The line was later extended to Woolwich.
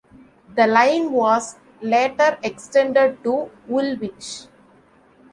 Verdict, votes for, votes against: accepted, 2, 0